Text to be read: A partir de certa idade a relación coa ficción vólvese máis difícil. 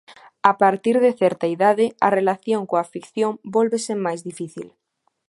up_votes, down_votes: 2, 0